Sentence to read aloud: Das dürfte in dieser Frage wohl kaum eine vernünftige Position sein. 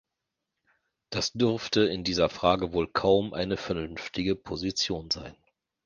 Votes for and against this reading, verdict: 2, 0, accepted